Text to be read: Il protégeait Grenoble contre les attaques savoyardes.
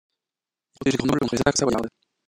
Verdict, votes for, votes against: rejected, 0, 2